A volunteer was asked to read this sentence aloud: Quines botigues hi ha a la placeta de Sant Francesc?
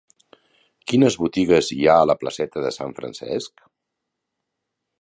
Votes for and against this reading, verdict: 3, 0, accepted